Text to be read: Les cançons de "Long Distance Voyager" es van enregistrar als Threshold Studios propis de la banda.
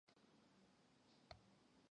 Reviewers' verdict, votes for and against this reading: rejected, 0, 2